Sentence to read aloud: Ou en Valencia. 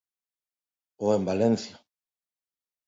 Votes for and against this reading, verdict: 2, 0, accepted